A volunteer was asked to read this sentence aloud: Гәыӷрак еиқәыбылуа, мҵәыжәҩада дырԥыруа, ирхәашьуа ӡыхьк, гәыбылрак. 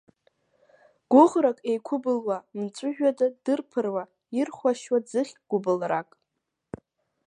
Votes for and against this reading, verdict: 2, 0, accepted